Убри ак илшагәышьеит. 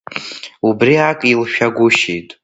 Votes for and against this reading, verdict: 1, 2, rejected